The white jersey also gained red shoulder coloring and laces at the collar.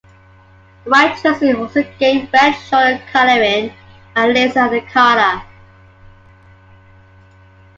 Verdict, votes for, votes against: accepted, 2, 1